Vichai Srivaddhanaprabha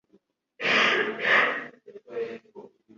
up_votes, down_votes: 1, 2